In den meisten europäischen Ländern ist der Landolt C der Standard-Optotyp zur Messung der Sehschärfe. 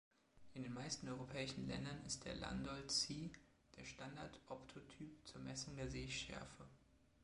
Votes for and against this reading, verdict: 2, 0, accepted